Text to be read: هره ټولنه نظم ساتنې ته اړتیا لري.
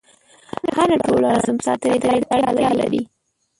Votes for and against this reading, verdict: 1, 4, rejected